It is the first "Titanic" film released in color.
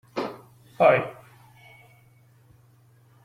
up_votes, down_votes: 0, 2